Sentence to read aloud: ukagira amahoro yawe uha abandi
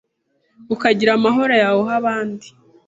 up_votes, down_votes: 2, 0